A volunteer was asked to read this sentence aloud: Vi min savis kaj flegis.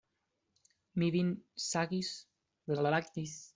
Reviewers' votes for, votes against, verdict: 1, 2, rejected